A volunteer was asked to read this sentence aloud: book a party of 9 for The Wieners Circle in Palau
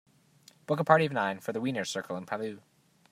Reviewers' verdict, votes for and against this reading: rejected, 0, 2